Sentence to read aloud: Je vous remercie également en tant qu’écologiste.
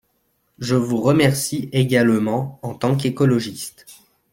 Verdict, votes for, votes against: accepted, 2, 0